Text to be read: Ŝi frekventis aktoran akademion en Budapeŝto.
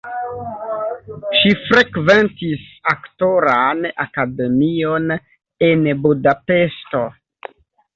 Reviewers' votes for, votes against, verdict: 2, 0, accepted